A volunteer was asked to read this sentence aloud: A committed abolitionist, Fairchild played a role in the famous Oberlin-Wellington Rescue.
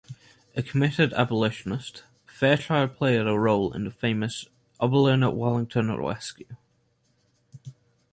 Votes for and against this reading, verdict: 1, 2, rejected